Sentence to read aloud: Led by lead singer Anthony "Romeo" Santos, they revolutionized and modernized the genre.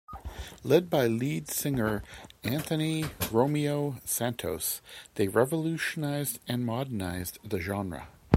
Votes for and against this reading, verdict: 2, 0, accepted